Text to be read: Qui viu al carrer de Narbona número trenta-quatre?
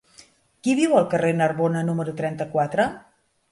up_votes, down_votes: 1, 2